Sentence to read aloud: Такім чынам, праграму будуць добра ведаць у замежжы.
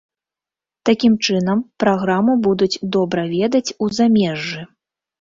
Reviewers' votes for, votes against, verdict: 2, 0, accepted